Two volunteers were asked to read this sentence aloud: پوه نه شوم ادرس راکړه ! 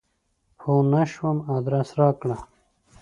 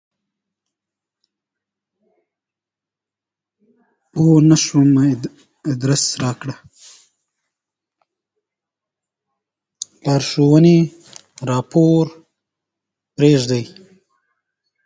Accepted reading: first